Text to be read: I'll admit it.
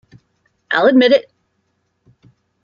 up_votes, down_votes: 0, 2